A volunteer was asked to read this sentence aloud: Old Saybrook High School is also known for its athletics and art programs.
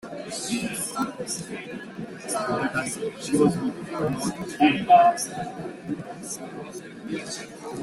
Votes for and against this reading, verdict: 0, 3, rejected